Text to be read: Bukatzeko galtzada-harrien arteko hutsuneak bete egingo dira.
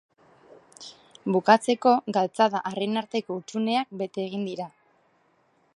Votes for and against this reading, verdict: 0, 2, rejected